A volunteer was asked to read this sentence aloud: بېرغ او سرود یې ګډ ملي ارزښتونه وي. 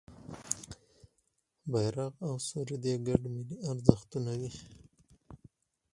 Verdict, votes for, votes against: accepted, 4, 0